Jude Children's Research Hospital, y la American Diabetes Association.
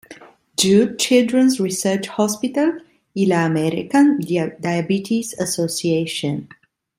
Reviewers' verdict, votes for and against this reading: rejected, 1, 2